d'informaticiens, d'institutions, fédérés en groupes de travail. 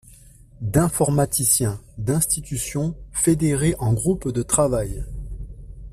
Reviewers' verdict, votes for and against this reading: accepted, 2, 1